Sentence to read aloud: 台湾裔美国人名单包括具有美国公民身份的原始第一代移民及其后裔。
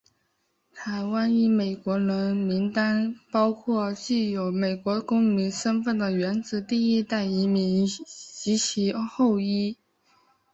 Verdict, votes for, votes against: accepted, 4, 2